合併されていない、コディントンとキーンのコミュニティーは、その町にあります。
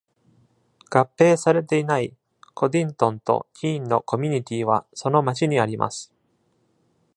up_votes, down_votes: 2, 0